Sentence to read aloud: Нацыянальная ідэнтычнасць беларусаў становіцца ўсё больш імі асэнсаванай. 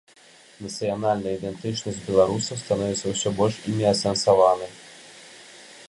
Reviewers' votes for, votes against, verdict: 2, 0, accepted